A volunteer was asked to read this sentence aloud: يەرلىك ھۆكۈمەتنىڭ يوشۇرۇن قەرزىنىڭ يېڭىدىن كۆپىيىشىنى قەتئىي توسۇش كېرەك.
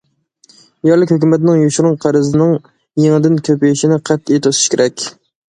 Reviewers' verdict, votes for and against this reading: accepted, 2, 0